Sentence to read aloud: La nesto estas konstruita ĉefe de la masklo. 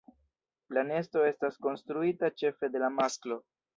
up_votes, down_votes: 2, 0